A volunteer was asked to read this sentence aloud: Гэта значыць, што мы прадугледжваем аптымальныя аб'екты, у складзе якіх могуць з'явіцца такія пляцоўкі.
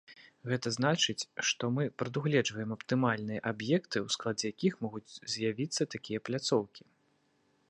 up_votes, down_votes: 2, 0